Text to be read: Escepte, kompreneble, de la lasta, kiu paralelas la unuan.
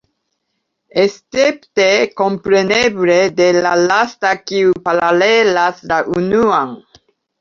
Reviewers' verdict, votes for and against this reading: accepted, 2, 0